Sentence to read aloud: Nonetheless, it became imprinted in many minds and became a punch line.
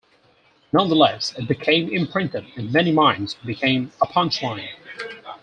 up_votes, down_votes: 4, 0